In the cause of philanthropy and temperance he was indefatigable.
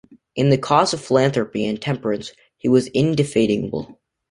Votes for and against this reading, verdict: 0, 2, rejected